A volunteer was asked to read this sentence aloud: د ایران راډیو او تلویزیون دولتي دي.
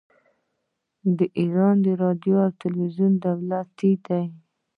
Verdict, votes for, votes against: rejected, 0, 2